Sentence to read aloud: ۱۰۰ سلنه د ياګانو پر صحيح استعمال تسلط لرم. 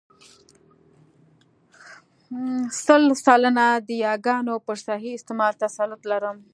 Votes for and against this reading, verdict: 0, 2, rejected